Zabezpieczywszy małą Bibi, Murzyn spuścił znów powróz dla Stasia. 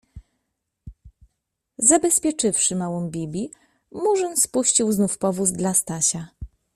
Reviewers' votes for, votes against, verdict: 0, 2, rejected